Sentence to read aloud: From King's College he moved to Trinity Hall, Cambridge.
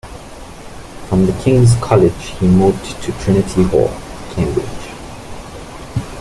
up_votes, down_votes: 0, 2